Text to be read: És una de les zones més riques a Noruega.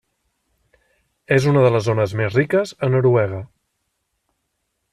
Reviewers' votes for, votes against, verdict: 3, 0, accepted